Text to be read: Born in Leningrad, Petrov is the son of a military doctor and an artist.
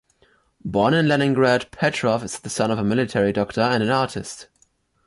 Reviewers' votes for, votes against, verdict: 2, 0, accepted